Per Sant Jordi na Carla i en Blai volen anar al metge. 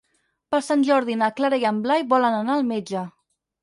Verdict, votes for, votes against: rejected, 2, 4